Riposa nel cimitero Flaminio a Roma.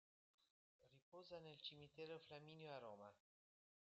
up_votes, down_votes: 0, 2